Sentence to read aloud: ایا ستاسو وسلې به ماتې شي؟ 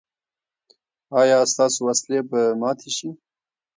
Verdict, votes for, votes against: accepted, 2, 0